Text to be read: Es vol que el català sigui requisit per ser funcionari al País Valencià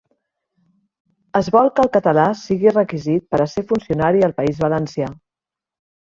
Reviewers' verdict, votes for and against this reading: rejected, 0, 2